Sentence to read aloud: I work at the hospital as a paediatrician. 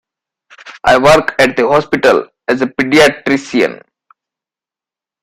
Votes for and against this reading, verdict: 0, 2, rejected